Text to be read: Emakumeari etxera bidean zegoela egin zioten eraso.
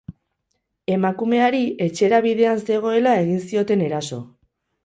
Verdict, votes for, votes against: accepted, 4, 0